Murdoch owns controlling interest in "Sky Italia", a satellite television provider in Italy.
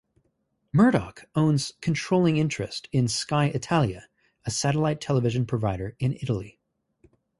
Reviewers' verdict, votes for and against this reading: accepted, 2, 0